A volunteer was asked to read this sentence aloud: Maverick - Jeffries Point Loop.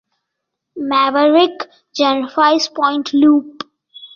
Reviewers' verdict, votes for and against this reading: accepted, 3, 0